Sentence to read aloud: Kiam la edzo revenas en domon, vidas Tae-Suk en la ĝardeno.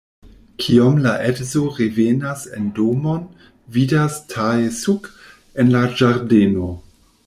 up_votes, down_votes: 1, 2